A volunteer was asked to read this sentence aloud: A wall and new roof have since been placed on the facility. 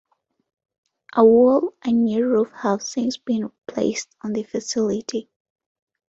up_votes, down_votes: 2, 0